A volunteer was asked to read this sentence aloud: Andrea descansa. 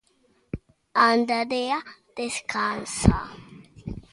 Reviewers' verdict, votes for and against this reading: rejected, 1, 2